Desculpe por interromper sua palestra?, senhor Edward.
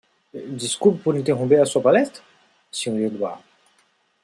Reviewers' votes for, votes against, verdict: 1, 2, rejected